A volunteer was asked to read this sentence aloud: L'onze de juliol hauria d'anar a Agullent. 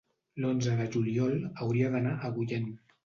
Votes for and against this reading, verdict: 2, 0, accepted